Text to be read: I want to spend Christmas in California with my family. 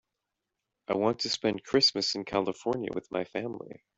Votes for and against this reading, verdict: 2, 0, accepted